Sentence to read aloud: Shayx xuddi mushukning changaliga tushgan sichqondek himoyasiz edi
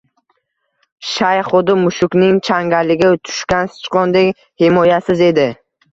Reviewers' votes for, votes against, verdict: 1, 2, rejected